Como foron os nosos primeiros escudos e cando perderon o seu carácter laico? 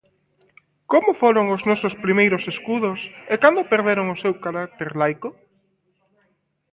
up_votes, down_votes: 2, 0